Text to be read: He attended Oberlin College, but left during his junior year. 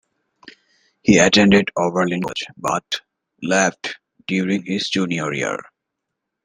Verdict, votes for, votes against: rejected, 0, 2